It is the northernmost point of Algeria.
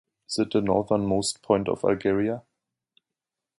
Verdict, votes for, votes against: rejected, 0, 2